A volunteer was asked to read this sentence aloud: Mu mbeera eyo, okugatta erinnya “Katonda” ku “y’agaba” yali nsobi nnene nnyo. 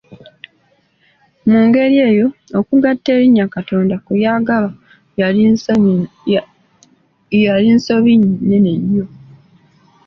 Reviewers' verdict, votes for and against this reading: accepted, 2, 0